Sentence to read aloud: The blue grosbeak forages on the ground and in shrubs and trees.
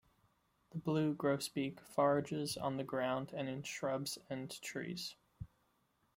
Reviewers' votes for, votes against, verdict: 1, 2, rejected